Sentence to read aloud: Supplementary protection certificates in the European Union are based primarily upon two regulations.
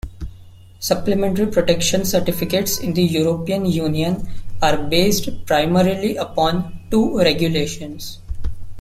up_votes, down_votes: 2, 0